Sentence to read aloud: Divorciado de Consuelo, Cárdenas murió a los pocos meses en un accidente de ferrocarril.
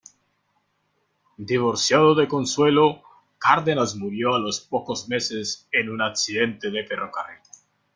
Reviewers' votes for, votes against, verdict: 2, 1, accepted